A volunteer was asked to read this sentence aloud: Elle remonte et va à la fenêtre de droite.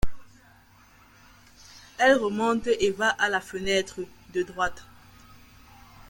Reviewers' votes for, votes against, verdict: 2, 0, accepted